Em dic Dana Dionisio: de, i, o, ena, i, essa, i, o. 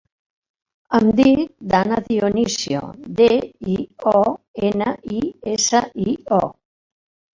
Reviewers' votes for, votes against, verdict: 0, 2, rejected